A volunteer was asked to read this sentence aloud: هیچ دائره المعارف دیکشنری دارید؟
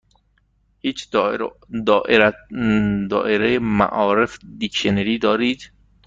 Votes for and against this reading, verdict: 1, 2, rejected